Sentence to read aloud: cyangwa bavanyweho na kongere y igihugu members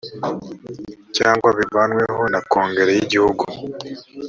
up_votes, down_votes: 1, 2